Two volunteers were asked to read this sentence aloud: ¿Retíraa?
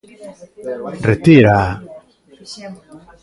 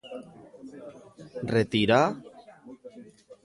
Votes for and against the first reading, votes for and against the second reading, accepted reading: 1, 2, 2, 0, second